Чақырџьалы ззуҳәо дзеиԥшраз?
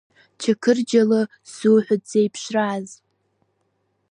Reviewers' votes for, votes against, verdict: 2, 3, rejected